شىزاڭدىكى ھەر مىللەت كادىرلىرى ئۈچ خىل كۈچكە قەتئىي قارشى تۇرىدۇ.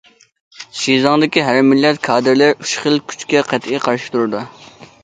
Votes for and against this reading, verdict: 2, 0, accepted